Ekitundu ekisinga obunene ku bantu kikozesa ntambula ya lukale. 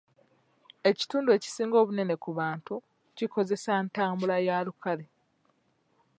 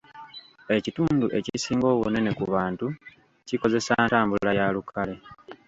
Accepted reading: first